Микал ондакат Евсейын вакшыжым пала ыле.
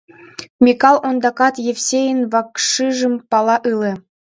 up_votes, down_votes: 1, 2